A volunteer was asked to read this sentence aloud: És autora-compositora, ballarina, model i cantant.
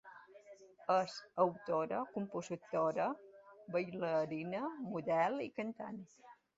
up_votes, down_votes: 0, 2